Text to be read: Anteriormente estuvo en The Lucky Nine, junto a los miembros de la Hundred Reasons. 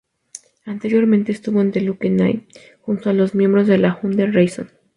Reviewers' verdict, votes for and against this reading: rejected, 0, 2